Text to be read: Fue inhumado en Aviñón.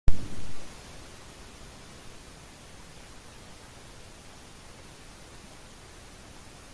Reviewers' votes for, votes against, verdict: 0, 2, rejected